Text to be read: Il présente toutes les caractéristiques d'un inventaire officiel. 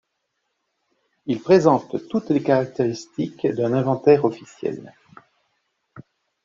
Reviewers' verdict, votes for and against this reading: accepted, 2, 0